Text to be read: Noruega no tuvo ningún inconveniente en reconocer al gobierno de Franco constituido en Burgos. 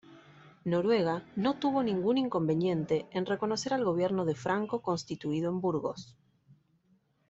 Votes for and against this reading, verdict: 2, 0, accepted